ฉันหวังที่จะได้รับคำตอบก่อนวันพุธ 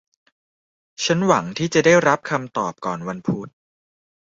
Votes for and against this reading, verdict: 2, 0, accepted